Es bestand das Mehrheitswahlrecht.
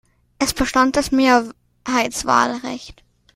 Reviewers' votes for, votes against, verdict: 2, 0, accepted